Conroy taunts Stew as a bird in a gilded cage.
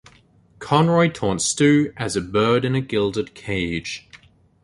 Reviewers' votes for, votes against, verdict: 2, 0, accepted